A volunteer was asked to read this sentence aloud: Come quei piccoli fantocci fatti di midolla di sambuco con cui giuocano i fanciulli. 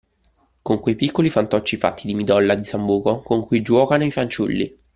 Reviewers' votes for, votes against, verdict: 1, 2, rejected